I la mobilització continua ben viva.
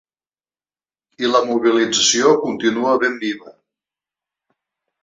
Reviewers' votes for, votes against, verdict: 3, 0, accepted